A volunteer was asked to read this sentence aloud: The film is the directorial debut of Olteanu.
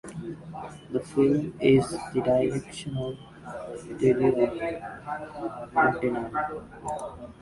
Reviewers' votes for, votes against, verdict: 1, 2, rejected